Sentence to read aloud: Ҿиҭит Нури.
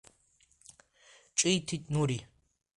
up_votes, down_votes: 2, 0